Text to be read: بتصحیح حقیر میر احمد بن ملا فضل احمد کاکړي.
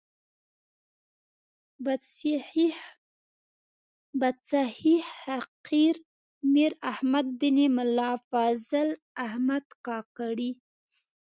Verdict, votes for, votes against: rejected, 0, 2